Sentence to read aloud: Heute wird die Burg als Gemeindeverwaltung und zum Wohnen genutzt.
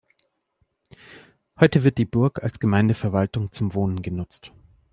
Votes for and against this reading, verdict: 0, 2, rejected